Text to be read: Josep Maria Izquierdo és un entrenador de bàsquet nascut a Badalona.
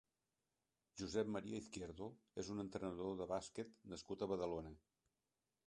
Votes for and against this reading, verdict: 3, 0, accepted